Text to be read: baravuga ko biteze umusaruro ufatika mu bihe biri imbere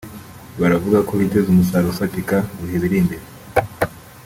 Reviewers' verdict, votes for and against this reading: accepted, 2, 0